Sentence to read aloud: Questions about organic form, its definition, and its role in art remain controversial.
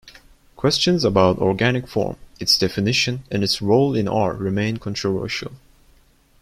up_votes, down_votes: 2, 0